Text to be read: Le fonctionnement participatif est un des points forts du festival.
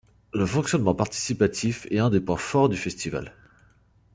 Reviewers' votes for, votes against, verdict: 2, 0, accepted